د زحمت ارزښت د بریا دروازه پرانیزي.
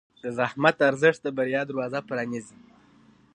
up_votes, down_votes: 2, 0